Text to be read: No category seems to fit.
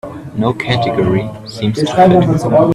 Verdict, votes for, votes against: rejected, 1, 2